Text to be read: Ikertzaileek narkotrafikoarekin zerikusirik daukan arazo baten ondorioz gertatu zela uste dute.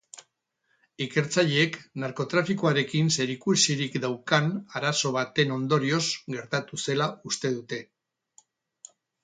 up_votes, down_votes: 6, 0